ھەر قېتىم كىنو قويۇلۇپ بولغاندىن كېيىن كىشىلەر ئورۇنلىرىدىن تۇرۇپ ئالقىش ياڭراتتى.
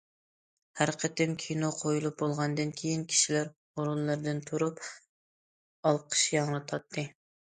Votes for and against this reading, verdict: 0, 2, rejected